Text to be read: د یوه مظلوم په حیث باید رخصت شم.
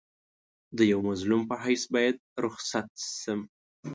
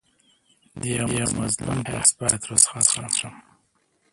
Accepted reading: first